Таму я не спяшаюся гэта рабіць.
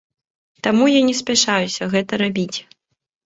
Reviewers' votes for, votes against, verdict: 2, 0, accepted